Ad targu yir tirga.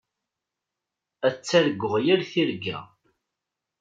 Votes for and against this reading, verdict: 2, 1, accepted